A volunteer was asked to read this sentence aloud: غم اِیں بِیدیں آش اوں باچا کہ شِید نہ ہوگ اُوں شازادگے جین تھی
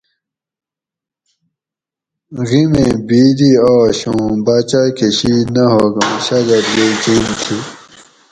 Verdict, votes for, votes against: rejected, 2, 2